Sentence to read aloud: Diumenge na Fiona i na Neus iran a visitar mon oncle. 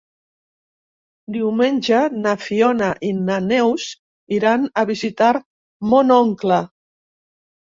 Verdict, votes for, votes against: accepted, 3, 0